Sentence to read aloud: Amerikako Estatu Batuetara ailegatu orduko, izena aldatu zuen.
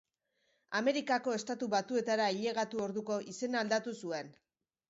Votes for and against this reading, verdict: 2, 0, accepted